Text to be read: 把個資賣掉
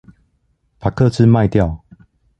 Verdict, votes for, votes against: accepted, 2, 0